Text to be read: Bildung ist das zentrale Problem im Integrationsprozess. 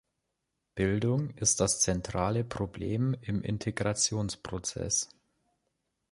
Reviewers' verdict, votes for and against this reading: rejected, 1, 2